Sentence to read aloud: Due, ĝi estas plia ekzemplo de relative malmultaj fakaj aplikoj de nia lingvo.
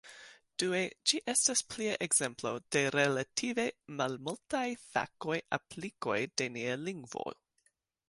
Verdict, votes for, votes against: rejected, 1, 2